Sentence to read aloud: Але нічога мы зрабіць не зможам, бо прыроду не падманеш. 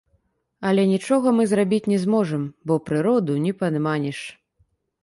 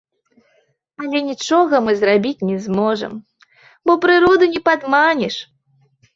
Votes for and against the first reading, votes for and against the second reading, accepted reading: 0, 2, 2, 1, second